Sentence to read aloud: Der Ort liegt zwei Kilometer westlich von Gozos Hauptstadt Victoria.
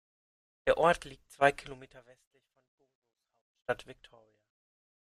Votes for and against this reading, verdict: 0, 2, rejected